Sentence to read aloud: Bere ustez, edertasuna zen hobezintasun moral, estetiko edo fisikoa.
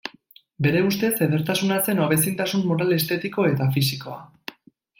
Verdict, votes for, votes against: rejected, 1, 2